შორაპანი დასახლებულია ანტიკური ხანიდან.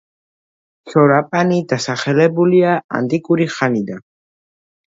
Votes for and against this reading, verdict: 2, 1, accepted